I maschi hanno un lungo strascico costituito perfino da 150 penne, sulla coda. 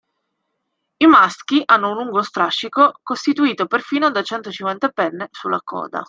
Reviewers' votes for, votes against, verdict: 0, 2, rejected